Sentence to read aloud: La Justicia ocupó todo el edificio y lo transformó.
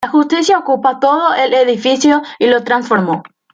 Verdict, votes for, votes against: accepted, 2, 0